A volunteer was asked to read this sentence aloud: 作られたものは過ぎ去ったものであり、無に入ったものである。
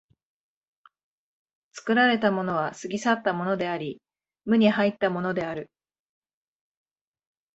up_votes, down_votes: 7, 0